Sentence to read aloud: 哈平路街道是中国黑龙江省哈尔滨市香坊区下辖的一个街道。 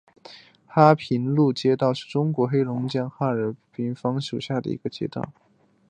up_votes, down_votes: 5, 1